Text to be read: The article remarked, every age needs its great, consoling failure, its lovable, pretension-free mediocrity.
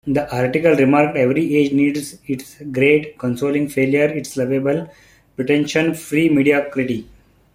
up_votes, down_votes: 2, 0